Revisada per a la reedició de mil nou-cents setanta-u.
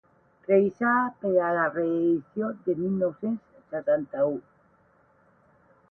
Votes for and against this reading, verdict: 4, 12, rejected